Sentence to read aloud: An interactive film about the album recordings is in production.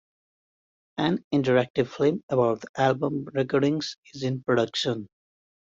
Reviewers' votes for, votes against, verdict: 1, 2, rejected